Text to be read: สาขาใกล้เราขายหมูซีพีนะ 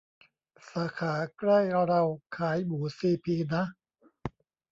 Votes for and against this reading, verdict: 1, 2, rejected